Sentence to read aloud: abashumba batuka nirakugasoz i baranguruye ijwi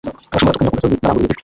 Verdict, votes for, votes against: rejected, 1, 2